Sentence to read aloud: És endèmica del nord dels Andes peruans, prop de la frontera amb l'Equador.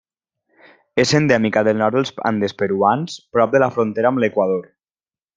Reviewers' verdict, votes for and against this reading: accepted, 2, 1